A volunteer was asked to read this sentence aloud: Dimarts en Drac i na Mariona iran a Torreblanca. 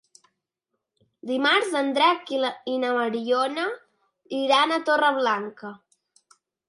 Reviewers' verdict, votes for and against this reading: rejected, 0, 2